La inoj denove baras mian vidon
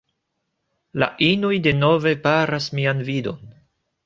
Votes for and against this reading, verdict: 0, 2, rejected